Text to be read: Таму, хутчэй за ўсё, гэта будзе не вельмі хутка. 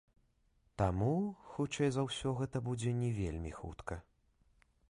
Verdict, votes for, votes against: accepted, 3, 0